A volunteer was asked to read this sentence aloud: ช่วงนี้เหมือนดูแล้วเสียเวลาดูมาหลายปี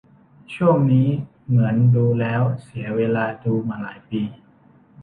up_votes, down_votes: 2, 0